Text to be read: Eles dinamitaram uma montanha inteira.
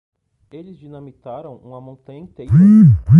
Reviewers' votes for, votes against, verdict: 1, 2, rejected